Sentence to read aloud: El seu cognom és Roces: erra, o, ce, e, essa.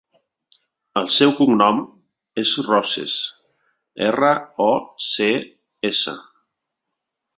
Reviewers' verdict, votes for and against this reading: rejected, 0, 2